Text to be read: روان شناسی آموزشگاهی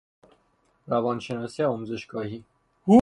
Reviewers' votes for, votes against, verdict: 3, 3, rejected